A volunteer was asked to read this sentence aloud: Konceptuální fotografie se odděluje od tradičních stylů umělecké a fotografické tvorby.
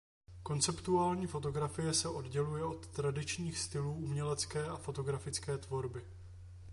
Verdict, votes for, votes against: accepted, 2, 0